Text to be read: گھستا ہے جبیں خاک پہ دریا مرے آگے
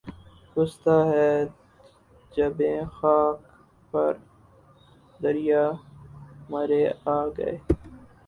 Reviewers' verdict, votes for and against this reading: rejected, 0, 4